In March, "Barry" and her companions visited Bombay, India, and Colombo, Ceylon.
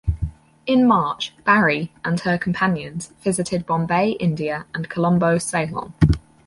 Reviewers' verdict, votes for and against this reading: accepted, 4, 2